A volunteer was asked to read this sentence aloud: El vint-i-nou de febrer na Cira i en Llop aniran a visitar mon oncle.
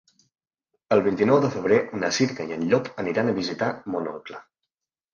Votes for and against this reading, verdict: 3, 2, accepted